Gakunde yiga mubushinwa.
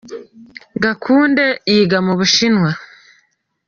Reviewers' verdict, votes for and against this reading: accepted, 2, 1